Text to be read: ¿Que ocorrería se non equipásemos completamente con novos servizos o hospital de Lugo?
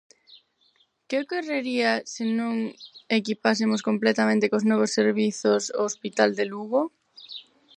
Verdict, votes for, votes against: rejected, 2, 4